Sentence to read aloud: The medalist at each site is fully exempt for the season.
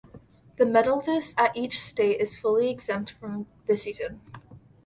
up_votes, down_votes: 0, 2